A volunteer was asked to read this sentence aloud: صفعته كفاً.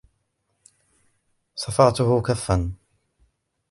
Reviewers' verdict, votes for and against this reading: accepted, 2, 0